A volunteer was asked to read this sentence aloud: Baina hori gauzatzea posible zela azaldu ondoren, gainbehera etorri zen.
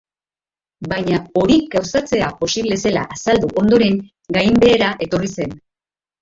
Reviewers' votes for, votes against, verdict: 3, 2, accepted